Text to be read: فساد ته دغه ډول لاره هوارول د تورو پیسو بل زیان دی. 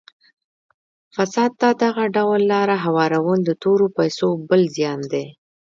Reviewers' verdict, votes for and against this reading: rejected, 1, 2